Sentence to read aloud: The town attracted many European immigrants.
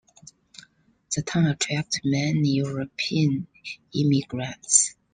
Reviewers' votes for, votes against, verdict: 2, 0, accepted